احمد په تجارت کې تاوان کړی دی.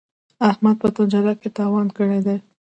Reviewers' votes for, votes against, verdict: 0, 2, rejected